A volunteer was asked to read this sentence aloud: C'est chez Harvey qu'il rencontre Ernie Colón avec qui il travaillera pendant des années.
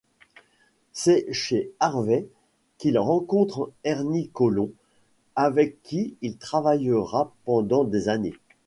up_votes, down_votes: 2, 1